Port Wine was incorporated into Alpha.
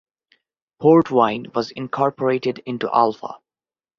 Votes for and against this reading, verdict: 2, 0, accepted